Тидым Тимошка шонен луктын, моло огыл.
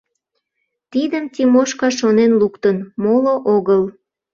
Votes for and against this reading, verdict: 2, 0, accepted